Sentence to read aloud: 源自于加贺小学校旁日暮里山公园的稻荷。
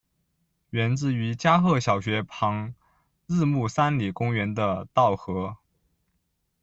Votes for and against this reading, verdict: 1, 2, rejected